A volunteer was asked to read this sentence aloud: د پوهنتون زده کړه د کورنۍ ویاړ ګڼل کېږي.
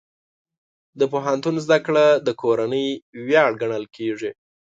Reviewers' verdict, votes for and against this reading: accepted, 2, 0